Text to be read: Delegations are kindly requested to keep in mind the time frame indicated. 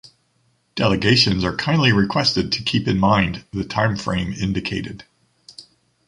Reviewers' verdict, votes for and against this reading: accepted, 2, 0